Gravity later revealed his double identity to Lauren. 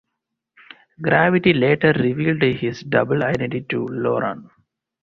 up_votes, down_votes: 2, 2